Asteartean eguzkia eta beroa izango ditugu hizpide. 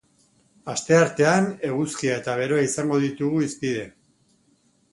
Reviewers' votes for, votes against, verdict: 3, 0, accepted